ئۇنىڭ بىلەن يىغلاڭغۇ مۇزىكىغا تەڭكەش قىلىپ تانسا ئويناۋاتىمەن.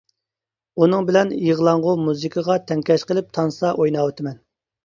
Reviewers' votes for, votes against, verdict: 2, 0, accepted